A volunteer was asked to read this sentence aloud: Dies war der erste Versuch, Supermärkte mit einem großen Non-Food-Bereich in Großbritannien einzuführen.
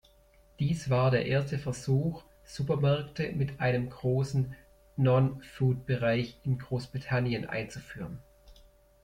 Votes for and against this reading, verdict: 1, 2, rejected